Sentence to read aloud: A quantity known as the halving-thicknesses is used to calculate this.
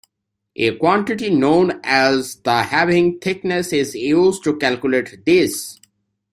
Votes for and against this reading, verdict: 2, 1, accepted